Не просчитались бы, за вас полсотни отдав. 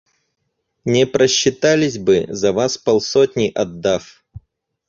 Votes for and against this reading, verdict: 4, 0, accepted